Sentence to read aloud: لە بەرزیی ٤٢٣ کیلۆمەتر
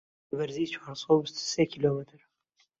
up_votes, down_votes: 0, 2